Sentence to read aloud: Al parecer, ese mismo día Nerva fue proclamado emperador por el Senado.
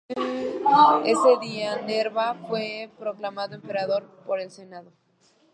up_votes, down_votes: 0, 2